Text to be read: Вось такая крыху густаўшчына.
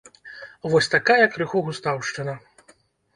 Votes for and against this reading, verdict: 1, 2, rejected